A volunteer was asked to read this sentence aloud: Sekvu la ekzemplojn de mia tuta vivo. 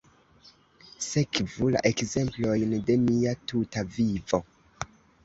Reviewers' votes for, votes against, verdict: 1, 3, rejected